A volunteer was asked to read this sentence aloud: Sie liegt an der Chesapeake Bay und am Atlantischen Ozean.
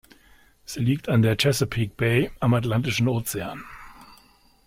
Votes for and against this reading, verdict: 0, 2, rejected